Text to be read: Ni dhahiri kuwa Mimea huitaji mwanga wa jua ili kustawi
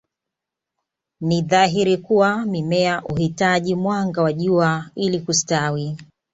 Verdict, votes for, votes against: accepted, 2, 0